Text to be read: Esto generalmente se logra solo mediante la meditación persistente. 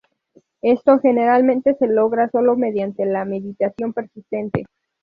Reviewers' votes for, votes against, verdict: 0, 2, rejected